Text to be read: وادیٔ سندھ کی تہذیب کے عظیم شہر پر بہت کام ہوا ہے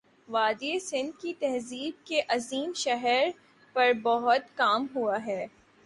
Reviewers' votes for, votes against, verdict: 3, 4, rejected